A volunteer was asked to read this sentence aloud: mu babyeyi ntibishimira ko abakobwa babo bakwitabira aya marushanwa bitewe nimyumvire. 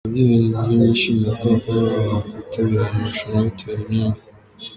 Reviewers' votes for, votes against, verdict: 0, 2, rejected